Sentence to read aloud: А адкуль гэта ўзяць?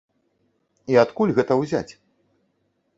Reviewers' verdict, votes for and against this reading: rejected, 0, 2